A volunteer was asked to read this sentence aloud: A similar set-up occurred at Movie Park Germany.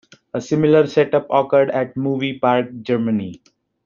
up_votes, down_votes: 2, 0